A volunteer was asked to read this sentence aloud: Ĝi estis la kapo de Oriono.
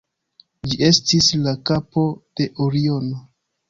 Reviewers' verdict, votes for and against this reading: accepted, 2, 0